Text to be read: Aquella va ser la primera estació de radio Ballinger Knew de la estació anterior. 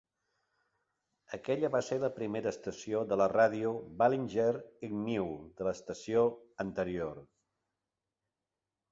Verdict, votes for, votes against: rejected, 0, 2